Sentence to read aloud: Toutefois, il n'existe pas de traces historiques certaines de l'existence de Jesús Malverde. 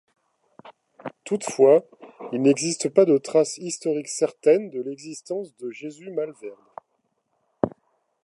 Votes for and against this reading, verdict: 1, 2, rejected